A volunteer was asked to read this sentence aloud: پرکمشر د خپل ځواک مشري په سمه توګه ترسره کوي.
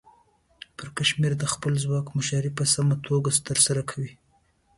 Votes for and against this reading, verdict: 2, 0, accepted